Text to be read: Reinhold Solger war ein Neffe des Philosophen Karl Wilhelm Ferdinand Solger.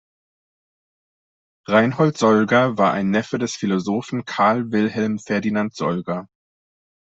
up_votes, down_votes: 2, 0